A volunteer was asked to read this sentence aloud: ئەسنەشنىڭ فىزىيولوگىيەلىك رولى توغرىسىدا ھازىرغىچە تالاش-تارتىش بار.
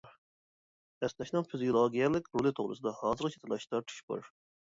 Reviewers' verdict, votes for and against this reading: accepted, 2, 1